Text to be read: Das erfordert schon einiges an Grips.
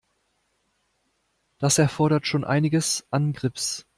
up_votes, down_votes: 2, 0